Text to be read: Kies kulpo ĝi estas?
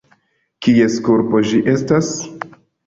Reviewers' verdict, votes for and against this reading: accepted, 2, 0